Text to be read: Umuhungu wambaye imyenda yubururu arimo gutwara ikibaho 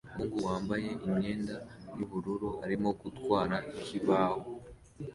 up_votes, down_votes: 2, 0